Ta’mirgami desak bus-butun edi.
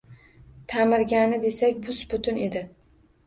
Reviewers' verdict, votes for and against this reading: rejected, 1, 2